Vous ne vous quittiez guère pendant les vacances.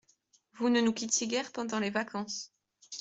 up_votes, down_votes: 2, 0